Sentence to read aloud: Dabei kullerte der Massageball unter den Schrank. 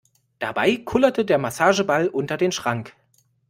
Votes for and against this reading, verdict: 2, 0, accepted